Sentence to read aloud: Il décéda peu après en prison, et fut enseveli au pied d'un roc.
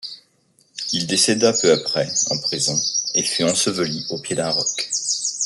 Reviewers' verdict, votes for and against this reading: rejected, 0, 2